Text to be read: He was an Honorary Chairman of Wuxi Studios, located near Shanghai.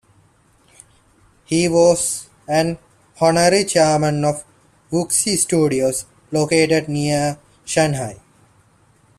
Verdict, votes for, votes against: accepted, 2, 1